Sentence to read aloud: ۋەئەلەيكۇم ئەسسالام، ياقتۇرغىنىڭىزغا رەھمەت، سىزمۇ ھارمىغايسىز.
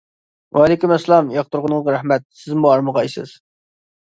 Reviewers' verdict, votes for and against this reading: rejected, 0, 2